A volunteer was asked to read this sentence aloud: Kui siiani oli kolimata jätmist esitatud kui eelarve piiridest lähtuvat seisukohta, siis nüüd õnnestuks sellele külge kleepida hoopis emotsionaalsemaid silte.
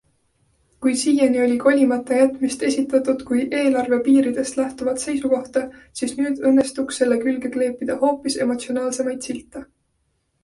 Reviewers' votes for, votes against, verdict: 2, 0, accepted